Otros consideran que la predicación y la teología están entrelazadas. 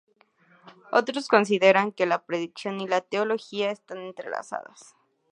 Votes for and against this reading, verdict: 4, 0, accepted